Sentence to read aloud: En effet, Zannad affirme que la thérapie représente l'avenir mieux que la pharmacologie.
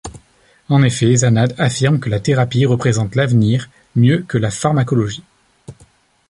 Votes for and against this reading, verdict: 2, 0, accepted